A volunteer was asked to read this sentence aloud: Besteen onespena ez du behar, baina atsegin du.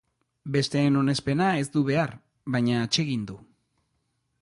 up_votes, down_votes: 2, 0